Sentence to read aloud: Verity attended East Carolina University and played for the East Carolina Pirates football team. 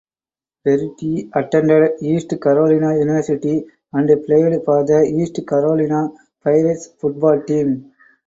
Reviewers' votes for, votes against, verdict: 4, 2, accepted